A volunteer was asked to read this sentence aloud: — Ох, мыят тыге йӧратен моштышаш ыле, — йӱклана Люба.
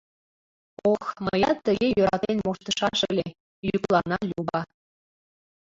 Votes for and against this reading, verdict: 0, 2, rejected